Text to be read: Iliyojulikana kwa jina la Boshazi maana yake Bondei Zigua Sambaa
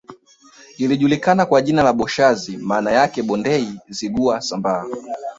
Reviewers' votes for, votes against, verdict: 0, 2, rejected